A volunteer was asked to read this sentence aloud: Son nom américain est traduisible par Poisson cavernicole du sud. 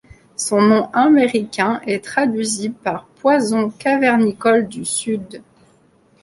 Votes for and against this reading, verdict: 1, 2, rejected